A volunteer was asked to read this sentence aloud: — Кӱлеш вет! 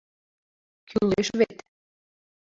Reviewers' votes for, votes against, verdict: 0, 2, rejected